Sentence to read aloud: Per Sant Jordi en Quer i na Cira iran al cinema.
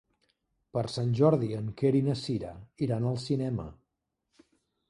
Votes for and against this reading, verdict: 3, 0, accepted